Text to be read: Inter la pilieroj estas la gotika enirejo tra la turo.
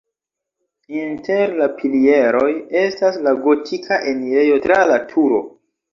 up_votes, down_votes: 0, 2